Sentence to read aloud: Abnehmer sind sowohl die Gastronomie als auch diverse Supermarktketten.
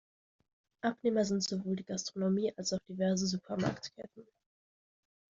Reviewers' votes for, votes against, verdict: 2, 0, accepted